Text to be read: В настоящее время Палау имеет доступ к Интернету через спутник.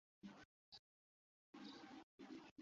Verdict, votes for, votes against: rejected, 0, 2